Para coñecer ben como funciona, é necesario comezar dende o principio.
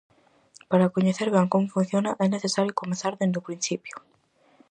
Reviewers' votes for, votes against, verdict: 4, 0, accepted